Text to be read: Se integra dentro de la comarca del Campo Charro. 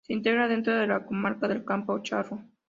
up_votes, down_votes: 2, 0